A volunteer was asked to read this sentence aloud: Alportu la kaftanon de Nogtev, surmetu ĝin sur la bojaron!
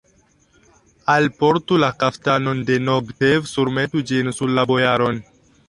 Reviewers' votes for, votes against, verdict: 1, 2, rejected